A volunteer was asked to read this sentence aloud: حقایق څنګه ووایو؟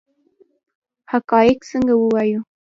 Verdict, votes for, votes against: rejected, 2, 3